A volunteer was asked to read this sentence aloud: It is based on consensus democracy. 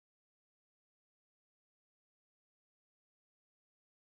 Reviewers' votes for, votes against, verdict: 0, 2, rejected